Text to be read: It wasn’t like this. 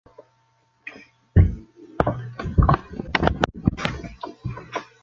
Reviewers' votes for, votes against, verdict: 0, 2, rejected